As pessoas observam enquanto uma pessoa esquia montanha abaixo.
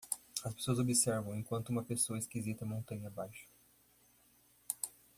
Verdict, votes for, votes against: rejected, 0, 2